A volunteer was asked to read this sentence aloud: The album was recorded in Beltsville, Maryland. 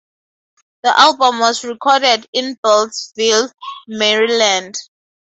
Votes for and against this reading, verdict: 2, 0, accepted